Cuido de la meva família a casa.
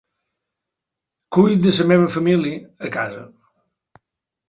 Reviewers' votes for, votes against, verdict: 1, 3, rejected